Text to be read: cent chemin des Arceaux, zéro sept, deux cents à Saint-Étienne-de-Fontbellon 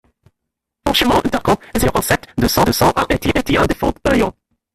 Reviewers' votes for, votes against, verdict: 0, 2, rejected